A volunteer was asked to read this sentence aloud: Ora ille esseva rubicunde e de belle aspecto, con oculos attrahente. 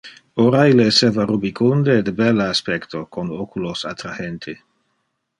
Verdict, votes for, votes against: accepted, 2, 0